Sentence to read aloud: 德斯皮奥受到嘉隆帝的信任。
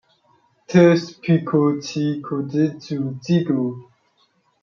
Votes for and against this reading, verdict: 0, 2, rejected